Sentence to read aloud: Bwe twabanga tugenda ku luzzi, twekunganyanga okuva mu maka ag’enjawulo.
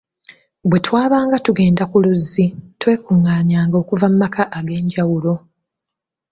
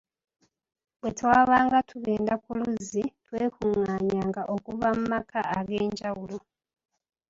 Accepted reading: first